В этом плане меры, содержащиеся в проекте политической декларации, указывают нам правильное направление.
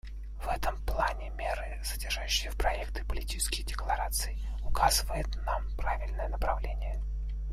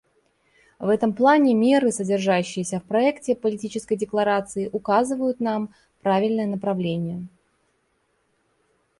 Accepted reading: second